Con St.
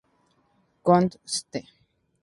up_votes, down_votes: 2, 0